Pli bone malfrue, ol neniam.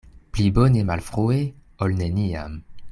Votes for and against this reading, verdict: 2, 0, accepted